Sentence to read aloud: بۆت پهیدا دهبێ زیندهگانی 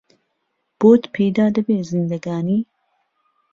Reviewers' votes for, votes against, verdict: 2, 0, accepted